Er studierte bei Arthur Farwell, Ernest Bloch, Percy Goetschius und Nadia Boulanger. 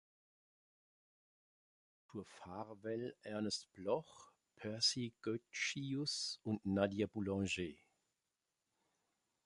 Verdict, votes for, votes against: rejected, 0, 2